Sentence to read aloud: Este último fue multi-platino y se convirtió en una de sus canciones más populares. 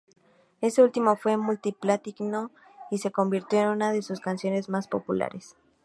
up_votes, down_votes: 2, 0